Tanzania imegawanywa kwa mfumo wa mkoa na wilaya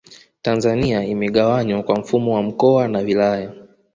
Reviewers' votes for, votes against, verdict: 2, 0, accepted